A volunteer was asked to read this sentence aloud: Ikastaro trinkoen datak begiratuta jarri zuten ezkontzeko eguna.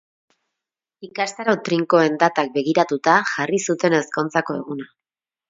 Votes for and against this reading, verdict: 0, 2, rejected